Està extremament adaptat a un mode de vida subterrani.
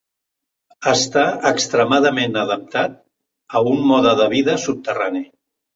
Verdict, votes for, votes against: accepted, 2, 0